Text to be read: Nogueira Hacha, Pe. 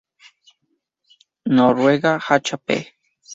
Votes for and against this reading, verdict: 0, 2, rejected